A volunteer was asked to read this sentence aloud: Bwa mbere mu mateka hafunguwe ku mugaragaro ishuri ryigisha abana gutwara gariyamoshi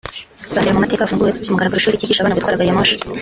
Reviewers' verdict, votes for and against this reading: rejected, 0, 2